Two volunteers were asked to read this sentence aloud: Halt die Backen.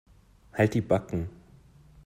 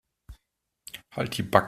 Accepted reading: first